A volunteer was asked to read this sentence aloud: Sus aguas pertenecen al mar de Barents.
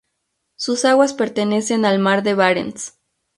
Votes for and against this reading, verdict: 2, 0, accepted